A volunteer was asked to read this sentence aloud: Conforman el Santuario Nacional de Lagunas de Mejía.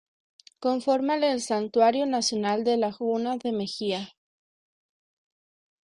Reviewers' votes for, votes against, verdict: 1, 2, rejected